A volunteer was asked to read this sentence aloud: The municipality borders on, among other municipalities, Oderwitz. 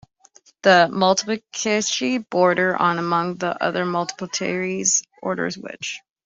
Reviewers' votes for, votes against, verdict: 0, 2, rejected